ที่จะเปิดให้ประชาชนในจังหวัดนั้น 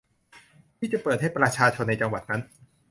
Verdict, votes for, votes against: accepted, 2, 0